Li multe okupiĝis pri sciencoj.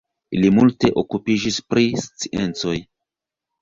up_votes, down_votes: 1, 2